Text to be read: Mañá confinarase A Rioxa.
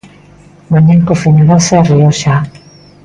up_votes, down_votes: 0, 2